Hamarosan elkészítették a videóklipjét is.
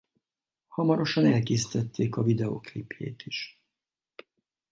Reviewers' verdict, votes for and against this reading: accepted, 4, 0